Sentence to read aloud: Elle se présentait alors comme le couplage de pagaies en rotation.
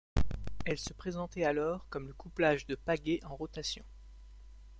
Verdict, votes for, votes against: accepted, 2, 0